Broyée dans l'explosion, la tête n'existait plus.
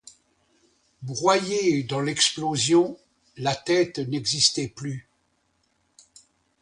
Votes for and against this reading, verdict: 2, 0, accepted